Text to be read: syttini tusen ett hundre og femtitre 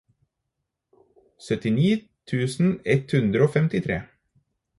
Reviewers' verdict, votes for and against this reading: accepted, 4, 0